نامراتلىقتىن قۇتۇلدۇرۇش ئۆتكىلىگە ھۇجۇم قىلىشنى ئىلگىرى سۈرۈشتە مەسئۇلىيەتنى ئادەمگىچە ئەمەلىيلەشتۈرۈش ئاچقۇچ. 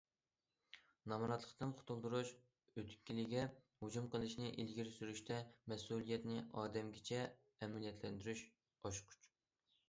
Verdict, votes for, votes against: rejected, 0, 2